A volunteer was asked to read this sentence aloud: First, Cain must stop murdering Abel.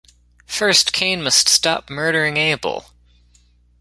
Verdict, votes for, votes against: accepted, 2, 0